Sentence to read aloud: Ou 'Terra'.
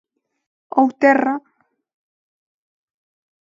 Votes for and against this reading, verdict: 2, 0, accepted